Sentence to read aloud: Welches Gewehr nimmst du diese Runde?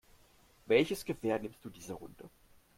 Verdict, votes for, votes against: accepted, 2, 1